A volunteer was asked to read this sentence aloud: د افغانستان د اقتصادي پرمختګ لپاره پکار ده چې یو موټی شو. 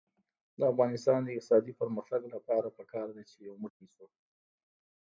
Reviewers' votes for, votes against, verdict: 1, 2, rejected